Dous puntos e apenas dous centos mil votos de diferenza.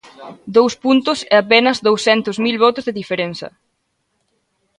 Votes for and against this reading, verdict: 2, 0, accepted